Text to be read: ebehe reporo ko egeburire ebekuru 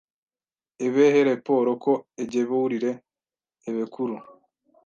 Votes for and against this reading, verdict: 1, 2, rejected